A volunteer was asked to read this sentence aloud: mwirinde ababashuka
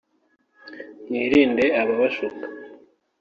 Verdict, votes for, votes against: accepted, 3, 0